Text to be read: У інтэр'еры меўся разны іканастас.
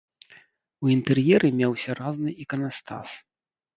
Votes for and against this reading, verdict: 1, 3, rejected